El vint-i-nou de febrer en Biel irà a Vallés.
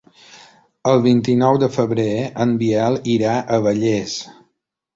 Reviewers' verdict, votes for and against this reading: accepted, 3, 0